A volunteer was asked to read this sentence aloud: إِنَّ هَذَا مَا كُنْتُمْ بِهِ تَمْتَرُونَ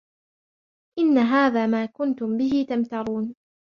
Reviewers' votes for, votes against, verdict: 3, 0, accepted